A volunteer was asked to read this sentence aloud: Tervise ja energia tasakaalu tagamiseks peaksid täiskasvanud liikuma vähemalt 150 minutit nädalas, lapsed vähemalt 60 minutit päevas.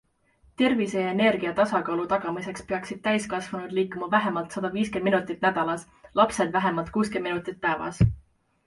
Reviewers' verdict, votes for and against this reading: rejected, 0, 2